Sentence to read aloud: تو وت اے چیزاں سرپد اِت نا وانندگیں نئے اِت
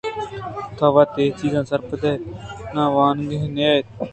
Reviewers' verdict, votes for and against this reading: accepted, 2, 0